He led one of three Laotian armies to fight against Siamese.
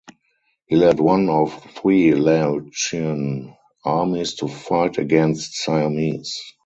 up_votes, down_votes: 0, 6